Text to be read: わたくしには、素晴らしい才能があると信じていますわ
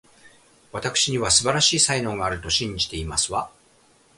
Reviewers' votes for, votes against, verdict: 3, 0, accepted